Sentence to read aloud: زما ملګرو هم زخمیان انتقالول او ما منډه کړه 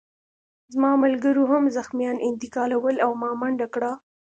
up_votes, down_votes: 2, 0